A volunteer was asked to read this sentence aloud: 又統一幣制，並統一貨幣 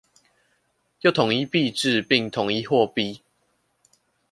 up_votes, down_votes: 2, 0